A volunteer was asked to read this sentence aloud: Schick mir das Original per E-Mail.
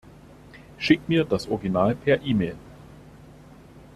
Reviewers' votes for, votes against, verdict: 2, 0, accepted